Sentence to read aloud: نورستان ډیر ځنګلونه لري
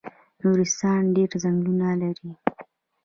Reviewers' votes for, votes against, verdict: 1, 2, rejected